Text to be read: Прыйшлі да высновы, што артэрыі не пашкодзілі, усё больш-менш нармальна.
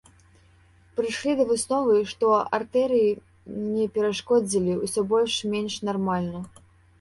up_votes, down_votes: 0, 2